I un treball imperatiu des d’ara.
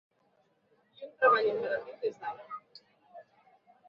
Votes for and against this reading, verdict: 0, 3, rejected